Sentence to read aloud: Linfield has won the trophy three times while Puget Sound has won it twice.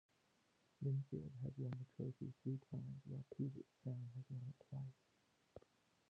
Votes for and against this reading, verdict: 0, 2, rejected